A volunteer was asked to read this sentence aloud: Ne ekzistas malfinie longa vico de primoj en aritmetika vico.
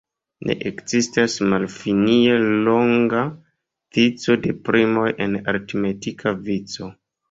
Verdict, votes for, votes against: rejected, 2, 3